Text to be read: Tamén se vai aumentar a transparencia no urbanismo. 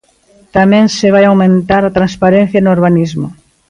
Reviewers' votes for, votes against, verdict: 1, 2, rejected